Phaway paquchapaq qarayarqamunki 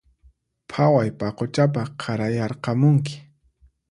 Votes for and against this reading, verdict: 4, 0, accepted